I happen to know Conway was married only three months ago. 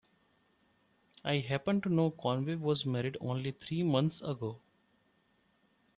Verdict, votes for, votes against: accepted, 2, 0